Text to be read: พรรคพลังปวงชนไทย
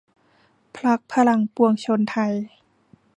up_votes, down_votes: 1, 2